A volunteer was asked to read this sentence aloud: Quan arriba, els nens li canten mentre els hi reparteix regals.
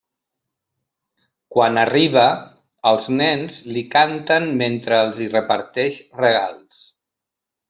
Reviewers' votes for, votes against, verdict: 3, 0, accepted